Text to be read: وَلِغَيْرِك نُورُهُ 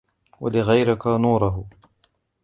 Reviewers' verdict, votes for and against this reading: rejected, 1, 2